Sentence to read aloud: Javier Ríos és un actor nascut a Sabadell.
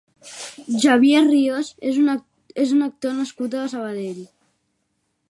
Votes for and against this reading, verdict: 0, 2, rejected